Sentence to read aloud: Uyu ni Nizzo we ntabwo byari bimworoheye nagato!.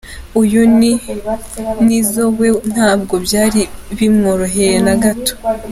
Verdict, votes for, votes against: accepted, 2, 1